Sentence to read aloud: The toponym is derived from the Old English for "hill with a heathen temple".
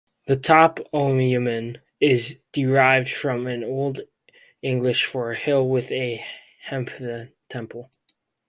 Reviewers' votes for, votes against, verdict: 2, 2, rejected